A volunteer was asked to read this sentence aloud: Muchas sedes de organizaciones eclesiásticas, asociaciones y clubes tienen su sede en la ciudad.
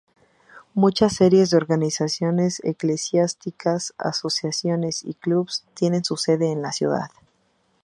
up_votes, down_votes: 2, 2